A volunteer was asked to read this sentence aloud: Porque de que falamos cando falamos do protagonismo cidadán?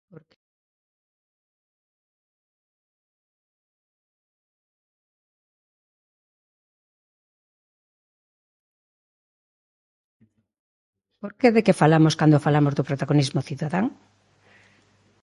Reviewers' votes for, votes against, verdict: 0, 2, rejected